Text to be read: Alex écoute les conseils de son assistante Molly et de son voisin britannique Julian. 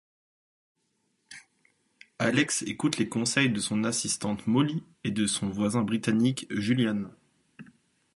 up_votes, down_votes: 2, 0